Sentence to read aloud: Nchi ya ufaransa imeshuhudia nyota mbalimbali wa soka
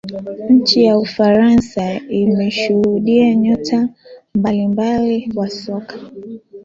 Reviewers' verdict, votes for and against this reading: accepted, 3, 1